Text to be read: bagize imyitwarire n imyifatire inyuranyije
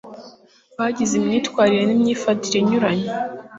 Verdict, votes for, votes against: accepted, 2, 0